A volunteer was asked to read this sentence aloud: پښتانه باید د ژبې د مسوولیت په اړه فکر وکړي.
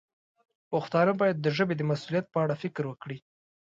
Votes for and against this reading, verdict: 2, 0, accepted